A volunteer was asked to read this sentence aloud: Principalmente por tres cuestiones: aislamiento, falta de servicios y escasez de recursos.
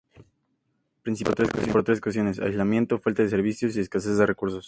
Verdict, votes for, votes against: rejected, 0, 2